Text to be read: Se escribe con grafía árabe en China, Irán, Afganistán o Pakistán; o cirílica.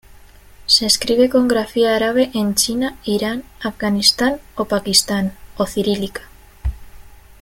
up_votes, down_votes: 2, 0